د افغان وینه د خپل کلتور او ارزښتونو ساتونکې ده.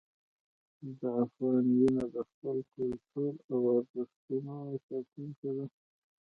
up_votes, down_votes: 2, 0